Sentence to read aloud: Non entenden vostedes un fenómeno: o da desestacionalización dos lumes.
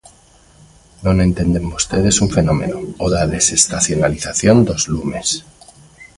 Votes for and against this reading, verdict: 2, 0, accepted